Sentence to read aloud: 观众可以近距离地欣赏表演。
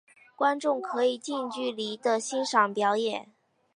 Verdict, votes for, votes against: accepted, 6, 0